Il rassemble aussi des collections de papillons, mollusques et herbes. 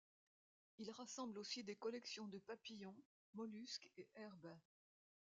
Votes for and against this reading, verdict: 2, 0, accepted